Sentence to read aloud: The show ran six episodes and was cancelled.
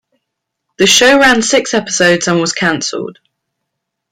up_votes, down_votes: 2, 0